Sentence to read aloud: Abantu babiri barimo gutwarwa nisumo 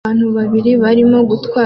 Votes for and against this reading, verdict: 0, 2, rejected